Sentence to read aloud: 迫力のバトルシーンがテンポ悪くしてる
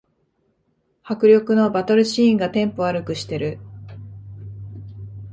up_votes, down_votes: 2, 0